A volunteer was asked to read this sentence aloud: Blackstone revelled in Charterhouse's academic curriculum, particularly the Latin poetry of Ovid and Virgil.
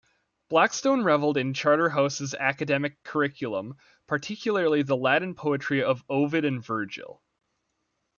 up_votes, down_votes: 2, 1